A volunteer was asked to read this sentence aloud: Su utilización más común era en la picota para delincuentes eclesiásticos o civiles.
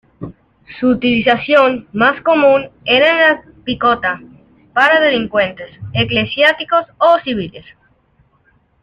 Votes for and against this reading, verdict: 1, 2, rejected